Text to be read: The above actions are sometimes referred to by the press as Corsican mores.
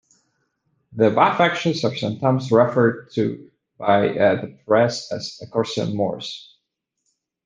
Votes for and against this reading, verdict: 1, 2, rejected